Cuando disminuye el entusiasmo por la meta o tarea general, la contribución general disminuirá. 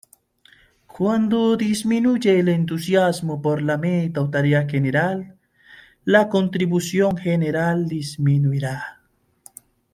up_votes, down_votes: 2, 0